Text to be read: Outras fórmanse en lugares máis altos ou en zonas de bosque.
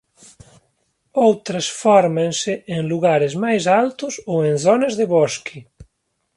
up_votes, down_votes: 2, 1